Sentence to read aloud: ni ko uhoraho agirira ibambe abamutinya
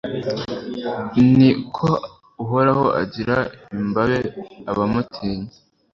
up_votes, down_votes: 1, 2